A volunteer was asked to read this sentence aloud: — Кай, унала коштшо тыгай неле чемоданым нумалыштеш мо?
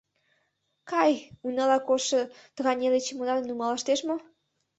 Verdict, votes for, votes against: accepted, 2, 0